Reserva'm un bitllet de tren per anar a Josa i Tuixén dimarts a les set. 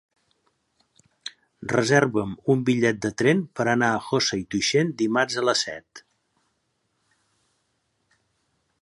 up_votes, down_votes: 1, 2